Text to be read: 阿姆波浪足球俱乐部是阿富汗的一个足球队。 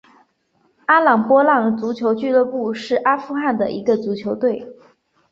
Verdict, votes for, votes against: accepted, 2, 0